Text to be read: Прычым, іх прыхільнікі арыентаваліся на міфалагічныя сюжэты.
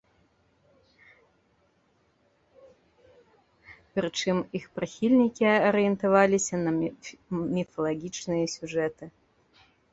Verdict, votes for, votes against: rejected, 0, 2